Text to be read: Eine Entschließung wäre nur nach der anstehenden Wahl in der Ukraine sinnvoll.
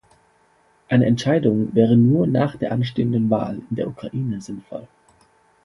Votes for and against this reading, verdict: 1, 2, rejected